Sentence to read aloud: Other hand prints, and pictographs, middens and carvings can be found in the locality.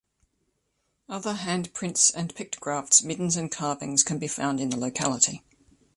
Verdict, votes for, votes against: accepted, 2, 0